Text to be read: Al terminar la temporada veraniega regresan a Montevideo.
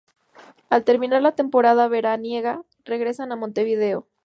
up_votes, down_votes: 2, 0